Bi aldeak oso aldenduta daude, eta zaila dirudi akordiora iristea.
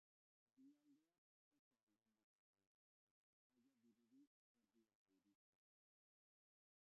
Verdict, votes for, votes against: rejected, 0, 3